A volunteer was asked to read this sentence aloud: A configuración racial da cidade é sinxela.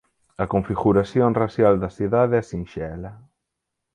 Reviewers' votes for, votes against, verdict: 4, 0, accepted